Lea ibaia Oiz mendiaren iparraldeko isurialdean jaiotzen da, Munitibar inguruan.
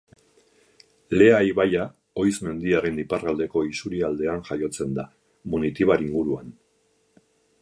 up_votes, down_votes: 2, 2